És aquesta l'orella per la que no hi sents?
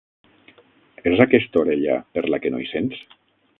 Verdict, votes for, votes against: rejected, 0, 6